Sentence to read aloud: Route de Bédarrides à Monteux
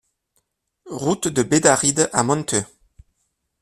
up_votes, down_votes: 2, 0